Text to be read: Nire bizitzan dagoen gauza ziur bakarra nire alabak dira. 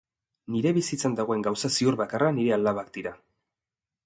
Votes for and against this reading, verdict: 5, 0, accepted